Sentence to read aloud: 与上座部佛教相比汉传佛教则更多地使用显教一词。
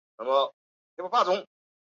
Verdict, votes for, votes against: accepted, 3, 0